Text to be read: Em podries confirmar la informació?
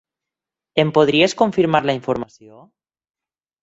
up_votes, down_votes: 6, 0